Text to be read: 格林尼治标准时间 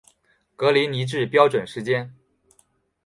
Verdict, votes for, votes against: accepted, 3, 2